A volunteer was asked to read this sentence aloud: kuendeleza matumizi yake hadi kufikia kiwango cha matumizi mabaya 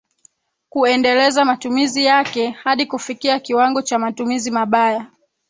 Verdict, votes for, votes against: rejected, 2, 3